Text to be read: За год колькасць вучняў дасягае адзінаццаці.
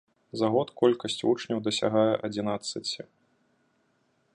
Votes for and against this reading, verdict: 2, 0, accepted